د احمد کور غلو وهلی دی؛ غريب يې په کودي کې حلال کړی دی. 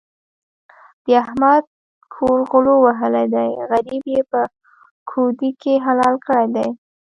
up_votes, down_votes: 2, 0